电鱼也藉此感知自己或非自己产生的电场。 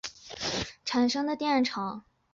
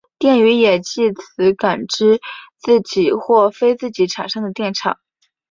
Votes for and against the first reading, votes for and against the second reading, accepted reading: 0, 3, 2, 1, second